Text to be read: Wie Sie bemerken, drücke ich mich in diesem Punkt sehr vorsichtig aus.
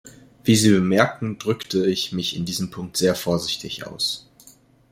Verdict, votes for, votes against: rejected, 1, 2